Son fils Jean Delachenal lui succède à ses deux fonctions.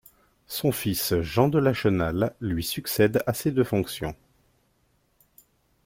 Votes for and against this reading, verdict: 2, 0, accepted